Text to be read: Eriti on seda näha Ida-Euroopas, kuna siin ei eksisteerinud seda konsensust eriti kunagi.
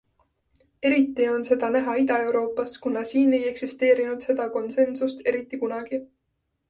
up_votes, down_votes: 2, 0